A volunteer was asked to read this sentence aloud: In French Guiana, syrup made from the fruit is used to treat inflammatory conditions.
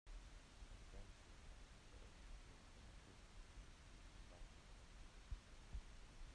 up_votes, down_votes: 0, 2